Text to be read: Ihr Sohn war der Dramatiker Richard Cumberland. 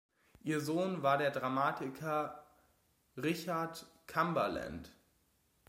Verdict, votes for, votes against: accepted, 2, 0